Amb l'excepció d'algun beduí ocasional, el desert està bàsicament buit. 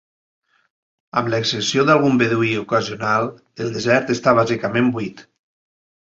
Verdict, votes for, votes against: accepted, 2, 0